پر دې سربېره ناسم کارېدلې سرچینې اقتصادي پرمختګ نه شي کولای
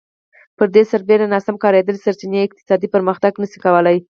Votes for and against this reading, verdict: 4, 0, accepted